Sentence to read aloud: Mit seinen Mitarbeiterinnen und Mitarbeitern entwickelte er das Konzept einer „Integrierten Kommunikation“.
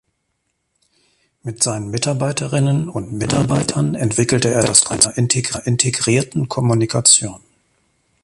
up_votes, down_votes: 0, 2